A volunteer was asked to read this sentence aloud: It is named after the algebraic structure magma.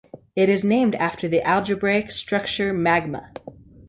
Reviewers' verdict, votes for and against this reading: accepted, 3, 0